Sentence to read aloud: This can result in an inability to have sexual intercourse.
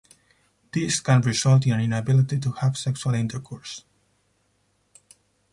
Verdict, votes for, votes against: rejected, 0, 4